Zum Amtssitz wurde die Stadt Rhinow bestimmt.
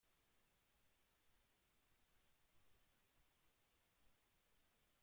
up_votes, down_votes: 0, 2